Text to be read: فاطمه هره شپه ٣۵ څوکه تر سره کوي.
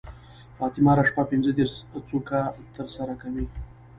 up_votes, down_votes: 0, 2